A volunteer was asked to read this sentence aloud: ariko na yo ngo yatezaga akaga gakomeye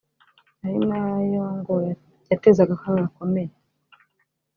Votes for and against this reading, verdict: 2, 3, rejected